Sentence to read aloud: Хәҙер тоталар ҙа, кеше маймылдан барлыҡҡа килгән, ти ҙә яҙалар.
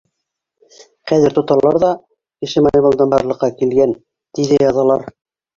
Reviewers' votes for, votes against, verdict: 1, 2, rejected